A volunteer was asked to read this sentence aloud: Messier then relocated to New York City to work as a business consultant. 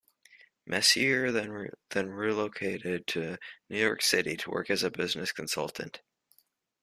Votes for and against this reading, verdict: 1, 2, rejected